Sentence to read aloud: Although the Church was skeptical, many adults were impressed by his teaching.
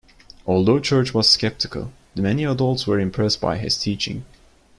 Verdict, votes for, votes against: rejected, 0, 2